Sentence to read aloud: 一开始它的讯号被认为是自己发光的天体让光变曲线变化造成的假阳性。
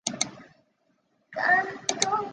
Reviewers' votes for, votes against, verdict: 0, 2, rejected